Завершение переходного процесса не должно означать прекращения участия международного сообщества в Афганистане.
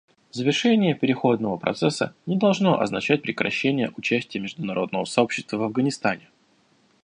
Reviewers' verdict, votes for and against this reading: accepted, 2, 0